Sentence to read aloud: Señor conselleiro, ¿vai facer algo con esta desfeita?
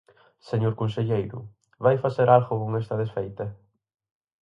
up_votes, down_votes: 4, 0